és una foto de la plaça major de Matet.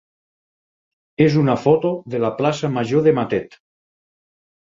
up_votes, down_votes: 4, 0